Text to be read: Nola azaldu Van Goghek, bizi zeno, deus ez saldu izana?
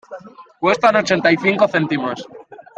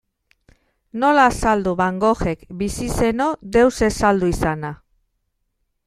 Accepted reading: second